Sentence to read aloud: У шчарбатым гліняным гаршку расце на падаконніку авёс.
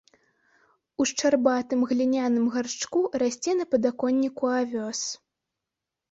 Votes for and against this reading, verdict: 0, 2, rejected